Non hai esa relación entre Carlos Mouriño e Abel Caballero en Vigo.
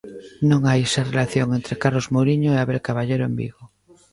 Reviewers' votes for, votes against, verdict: 2, 0, accepted